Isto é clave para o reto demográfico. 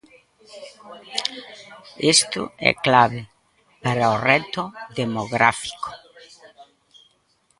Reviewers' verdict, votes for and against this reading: rejected, 0, 2